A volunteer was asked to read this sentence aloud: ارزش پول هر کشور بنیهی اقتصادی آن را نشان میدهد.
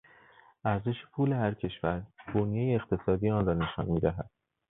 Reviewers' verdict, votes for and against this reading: accepted, 2, 0